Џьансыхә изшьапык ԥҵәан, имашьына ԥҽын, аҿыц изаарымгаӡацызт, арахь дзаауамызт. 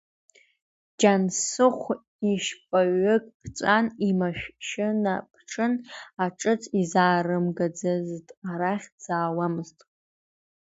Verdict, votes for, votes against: rejected, 1, 2